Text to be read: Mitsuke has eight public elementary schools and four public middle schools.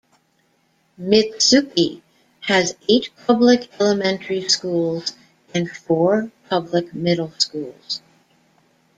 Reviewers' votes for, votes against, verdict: 1, 2, rejected